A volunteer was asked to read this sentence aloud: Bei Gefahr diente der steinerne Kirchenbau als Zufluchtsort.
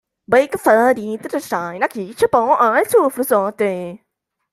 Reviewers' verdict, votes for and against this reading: rejected, 0, 2